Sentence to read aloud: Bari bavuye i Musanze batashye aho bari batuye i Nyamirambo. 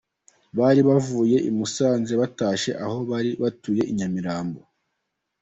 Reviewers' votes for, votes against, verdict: 2, 0, accepted